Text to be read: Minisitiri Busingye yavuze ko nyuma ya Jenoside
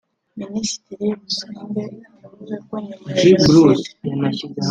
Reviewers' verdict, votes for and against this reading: rejected, 1, 2